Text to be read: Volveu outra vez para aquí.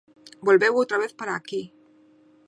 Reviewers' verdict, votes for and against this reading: accepted, 2, 0